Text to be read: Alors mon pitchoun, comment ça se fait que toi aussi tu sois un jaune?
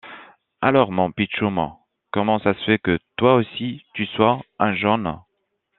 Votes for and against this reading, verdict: 1, 2, rejected